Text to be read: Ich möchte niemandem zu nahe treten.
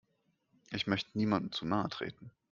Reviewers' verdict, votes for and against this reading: rejected, 0, 2